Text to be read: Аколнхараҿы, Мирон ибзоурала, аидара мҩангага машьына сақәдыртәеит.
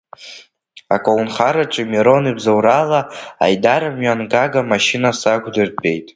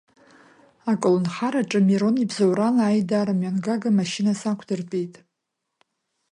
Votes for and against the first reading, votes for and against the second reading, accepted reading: 0, 2, 2, 0, second